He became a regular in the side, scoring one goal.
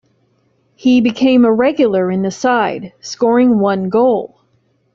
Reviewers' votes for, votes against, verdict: 2, 0, accepted